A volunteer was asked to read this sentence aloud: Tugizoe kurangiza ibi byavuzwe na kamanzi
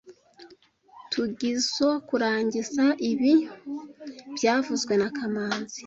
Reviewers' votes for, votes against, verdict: 2, 0, accepted